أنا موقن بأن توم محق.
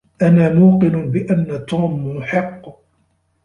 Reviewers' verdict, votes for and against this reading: accepted, 2, 1